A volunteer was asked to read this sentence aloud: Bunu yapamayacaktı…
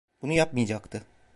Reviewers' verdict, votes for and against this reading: rejected, 1, 2